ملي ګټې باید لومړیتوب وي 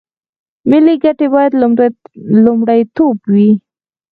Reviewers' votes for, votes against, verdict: 0, 4, rejected